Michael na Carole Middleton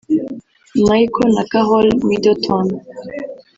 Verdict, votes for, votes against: rejected, 1, 2